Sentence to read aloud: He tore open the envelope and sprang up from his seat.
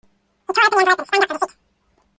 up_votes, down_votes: 0, 2